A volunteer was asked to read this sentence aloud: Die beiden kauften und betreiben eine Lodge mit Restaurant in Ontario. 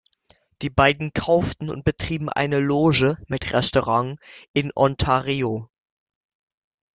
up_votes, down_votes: 0, 2